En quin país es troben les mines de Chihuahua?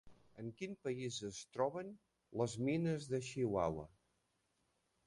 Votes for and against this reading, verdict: 0, 2, rejected